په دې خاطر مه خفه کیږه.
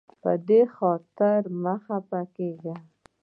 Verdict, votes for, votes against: accepted, 2, 0